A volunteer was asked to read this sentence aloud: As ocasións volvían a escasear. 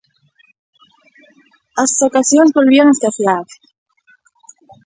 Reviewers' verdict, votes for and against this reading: rejected, 0, 2